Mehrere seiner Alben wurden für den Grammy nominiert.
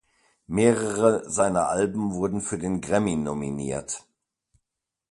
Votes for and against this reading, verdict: 2, 0, accepted